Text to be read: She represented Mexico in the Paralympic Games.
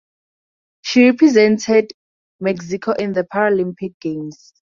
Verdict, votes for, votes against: accepted, 4, 0